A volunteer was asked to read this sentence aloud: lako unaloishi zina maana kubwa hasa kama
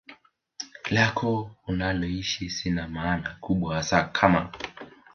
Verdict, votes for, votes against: rejected, 1, 2